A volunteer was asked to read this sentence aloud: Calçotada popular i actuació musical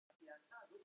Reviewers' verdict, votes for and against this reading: rejected, 0, 4